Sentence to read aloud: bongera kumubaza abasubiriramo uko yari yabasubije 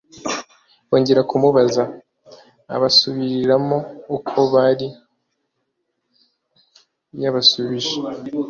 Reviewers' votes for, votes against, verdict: 1, 2, rejected